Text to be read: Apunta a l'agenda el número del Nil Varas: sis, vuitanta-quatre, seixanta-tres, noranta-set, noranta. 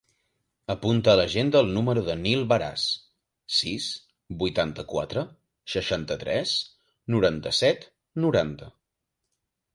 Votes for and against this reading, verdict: 2, 1, accepted